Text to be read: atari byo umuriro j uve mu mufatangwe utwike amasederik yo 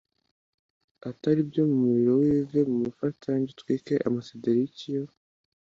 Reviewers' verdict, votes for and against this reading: accepted, 2, 0